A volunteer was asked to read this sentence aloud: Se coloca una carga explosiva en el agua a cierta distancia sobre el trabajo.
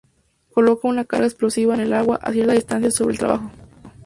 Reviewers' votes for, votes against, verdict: 0, 2, rejected